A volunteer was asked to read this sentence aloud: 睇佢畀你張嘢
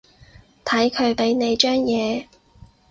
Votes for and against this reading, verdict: 4, 0, accepted